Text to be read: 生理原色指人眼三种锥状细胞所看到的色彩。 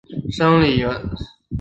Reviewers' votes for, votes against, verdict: 0, 2, rejected